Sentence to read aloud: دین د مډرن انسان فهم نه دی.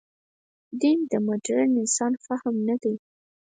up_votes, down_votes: 4, 0